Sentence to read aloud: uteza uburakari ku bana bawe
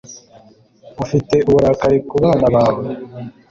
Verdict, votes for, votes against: accepted, 2, 0